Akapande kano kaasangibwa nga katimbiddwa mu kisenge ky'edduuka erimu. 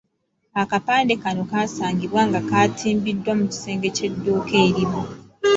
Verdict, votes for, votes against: rejected, 1, 2